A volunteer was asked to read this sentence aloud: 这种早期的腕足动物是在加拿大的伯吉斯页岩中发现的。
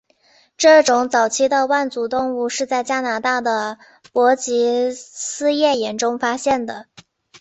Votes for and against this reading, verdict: 4, 0, accepted